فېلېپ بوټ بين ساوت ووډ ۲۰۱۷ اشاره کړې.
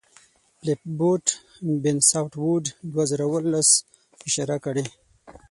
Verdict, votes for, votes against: rejected, 0, 2